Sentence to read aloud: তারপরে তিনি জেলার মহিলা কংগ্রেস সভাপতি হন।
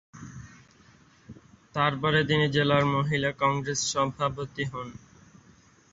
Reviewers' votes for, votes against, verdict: 2, 2, rejected